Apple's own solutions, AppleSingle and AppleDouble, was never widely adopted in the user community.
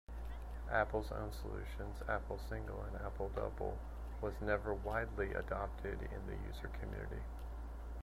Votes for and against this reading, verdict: 1, 2, rejected